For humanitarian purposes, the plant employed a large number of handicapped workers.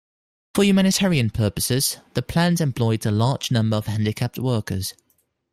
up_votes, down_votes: 2, 0